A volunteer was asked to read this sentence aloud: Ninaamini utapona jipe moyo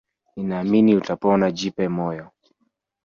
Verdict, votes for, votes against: accepted, 3, 2